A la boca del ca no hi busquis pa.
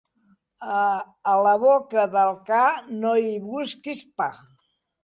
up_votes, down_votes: 1, 2